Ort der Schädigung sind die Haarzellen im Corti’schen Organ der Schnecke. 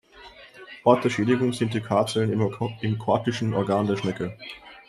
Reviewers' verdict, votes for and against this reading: rejected, 0, 2